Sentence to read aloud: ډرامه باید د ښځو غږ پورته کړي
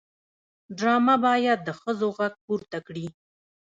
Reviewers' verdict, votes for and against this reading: accepted, 2, 1